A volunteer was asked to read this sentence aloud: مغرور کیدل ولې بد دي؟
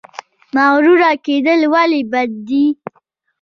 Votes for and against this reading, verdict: 1, 2, rejected